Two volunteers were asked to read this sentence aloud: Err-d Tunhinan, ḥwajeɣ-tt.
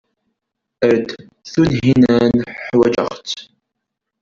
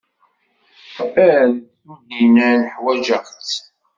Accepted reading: first